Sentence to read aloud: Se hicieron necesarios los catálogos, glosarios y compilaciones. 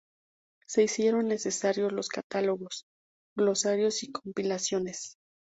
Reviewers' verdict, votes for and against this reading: accepted, 2, 0